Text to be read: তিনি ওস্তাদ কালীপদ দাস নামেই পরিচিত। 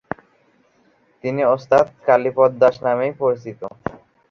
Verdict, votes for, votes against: accepted, 3, 2